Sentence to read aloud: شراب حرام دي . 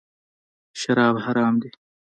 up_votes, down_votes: 2, 0